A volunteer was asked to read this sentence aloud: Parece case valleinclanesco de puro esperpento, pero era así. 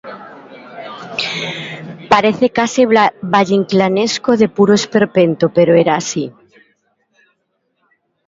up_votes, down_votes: 0, 2